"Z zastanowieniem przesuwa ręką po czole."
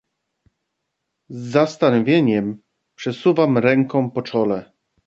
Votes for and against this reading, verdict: 1, 2, rejected